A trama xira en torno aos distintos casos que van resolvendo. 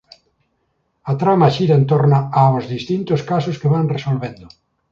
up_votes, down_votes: 2, 1